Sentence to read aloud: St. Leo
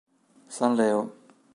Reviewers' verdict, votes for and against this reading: rejected, 0, 3